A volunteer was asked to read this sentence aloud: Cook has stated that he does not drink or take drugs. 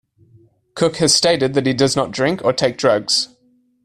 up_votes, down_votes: 2, 0